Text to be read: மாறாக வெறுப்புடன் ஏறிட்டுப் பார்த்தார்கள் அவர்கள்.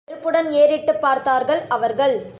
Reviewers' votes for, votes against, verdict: 0, 2, rejected